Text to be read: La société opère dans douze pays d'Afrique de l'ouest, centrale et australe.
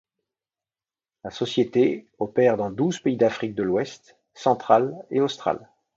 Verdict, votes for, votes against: accepted, 2, 0